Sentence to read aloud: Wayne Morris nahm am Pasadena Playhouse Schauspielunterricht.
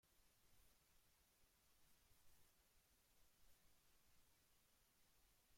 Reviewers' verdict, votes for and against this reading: rejected, 0, 2